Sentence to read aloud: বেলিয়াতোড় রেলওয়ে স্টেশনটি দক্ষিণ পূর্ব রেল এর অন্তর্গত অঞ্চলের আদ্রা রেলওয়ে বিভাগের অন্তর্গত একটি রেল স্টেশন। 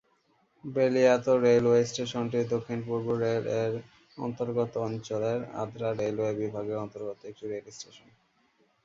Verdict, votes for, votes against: rejected, 0, 2